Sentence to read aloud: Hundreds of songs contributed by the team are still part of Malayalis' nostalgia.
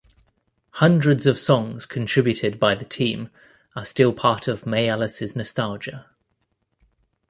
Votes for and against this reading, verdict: 1, 2, rejected